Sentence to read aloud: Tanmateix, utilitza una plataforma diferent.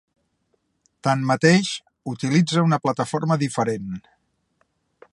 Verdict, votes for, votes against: accepted, 3, 0